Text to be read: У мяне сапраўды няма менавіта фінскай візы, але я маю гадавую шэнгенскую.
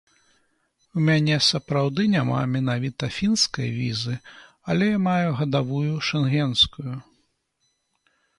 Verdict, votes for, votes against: accepted, 2, 0